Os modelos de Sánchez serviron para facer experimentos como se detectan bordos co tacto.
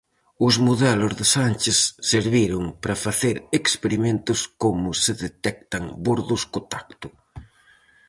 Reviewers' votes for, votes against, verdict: 4, 0, accepted